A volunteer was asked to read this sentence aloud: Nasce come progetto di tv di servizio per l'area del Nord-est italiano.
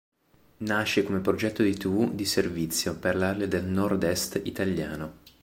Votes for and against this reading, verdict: 2, 0, accepted